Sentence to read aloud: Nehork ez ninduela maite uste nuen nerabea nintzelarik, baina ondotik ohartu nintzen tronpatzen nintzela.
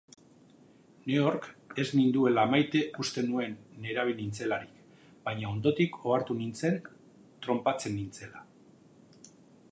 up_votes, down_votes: 2, 0